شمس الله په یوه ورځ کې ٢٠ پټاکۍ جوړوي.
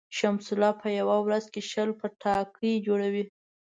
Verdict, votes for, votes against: rejected, 0, 2